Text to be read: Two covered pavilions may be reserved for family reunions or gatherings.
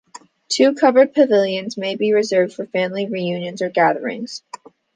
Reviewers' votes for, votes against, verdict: 2, 0, accepted